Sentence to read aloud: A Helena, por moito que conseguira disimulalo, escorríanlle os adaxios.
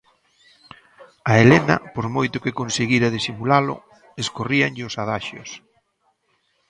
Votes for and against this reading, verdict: 2, 0, accepted